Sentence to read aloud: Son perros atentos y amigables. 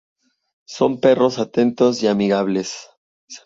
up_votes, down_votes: 2, 0